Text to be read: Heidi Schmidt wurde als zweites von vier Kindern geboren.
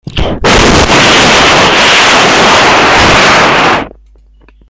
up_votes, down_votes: 0, 2